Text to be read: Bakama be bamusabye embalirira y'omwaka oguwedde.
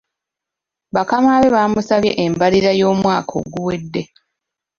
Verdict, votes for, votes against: accepted, 2, 0